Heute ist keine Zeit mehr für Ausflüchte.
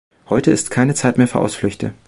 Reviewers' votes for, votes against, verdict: 2, 0, accepted